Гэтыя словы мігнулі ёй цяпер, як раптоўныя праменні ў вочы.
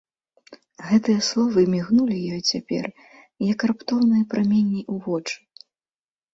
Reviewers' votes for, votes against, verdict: 2, 0, accepted